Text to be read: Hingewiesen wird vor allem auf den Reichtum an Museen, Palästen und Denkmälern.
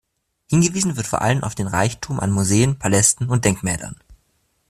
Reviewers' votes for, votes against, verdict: 3, 0, accepted